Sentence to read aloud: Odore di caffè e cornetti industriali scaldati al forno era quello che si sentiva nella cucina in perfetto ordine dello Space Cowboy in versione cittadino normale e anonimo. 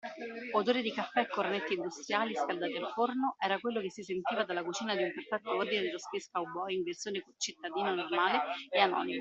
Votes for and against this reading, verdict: 2, 0, accepted